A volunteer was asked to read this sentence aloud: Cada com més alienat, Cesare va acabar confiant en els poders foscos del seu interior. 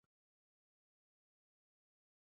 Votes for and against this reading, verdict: 0, 3, rejected